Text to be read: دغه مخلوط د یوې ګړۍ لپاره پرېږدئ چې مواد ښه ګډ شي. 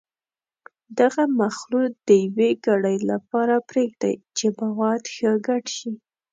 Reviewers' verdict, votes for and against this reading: accepted, 2, 0